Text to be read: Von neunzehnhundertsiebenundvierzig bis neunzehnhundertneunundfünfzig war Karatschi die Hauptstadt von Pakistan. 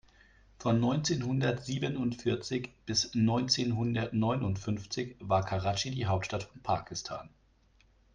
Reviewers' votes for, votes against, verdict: 2, 0, accepted